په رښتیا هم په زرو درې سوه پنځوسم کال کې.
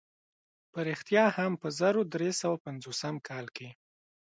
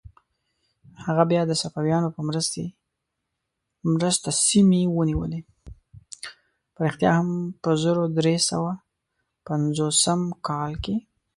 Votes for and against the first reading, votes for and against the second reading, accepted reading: 2, 0, 1, 2, first